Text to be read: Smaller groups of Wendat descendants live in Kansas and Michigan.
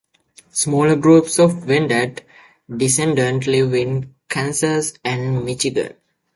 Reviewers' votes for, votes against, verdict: 2, 0, accepted